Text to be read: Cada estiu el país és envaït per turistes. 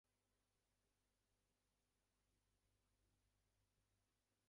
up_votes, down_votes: 0, 8